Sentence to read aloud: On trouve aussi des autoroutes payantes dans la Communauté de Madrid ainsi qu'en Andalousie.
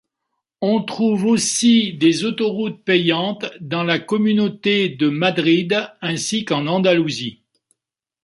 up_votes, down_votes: 2, 0